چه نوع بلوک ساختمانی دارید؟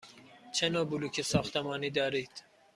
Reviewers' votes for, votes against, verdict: 2, 0, accepted